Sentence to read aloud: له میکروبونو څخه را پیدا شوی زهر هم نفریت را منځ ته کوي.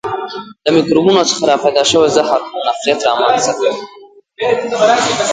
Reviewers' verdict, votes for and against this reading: rejected, 0, 2